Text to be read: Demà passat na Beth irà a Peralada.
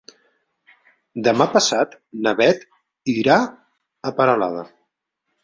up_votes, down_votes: 3, 0